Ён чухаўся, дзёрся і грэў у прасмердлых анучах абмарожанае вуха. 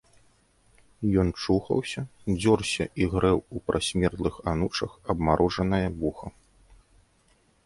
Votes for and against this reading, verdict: 2, 0, accepted